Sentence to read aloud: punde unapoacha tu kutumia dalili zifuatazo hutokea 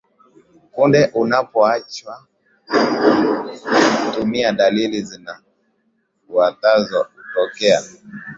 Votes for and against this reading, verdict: 1, 2, rejected